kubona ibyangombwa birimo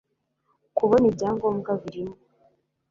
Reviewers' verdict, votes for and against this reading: accepted, 2, 0